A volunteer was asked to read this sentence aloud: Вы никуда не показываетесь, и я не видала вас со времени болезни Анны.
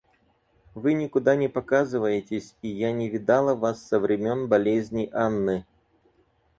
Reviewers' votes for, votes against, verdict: 0, 4, rejected